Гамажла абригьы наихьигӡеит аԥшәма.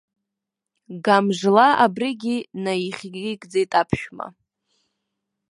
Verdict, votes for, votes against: rejected, 1, 2